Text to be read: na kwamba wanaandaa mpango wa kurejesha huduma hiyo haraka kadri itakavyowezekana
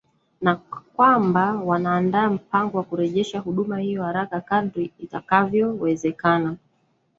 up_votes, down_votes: 0, 2